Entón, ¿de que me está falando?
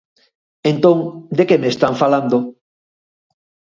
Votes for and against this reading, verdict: 2, 4, rejected